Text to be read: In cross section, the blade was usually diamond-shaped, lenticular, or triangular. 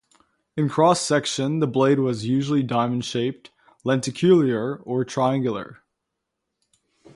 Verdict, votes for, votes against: accepted, 2, 0